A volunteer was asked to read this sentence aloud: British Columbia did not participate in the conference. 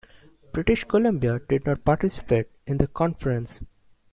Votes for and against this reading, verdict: 2, 0, accepted